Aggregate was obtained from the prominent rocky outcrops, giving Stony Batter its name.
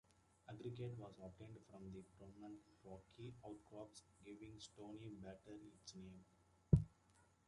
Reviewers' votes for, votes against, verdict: 0, 2, rejected